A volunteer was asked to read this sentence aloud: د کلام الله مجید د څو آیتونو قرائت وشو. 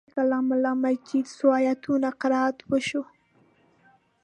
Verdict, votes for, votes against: rejected, 1, 2